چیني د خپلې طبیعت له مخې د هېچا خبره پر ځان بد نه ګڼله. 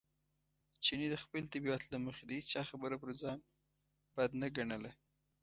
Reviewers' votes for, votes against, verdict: 2, 0, accepted